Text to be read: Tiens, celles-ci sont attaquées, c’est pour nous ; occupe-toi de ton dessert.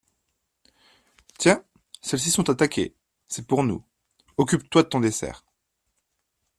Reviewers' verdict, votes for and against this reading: accepted, 2, 0